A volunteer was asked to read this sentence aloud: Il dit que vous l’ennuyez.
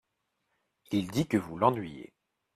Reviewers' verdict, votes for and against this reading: accepted, 2, 0